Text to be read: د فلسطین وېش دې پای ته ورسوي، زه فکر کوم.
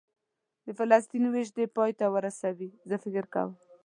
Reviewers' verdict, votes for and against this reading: rejected, 1, 2